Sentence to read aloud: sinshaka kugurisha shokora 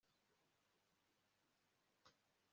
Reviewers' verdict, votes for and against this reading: rejected, 1, 2